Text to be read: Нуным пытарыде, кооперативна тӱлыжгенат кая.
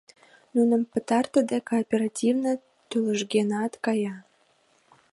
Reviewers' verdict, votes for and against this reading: rejected, 1, 2